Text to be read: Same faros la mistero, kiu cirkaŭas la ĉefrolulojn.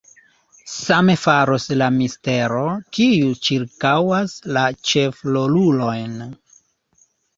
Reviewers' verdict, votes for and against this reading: rejected, 1, 2